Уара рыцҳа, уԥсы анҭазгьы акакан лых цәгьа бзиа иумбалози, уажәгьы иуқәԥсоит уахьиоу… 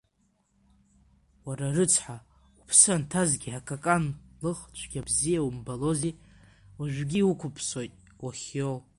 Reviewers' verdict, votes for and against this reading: rejected, 0, 2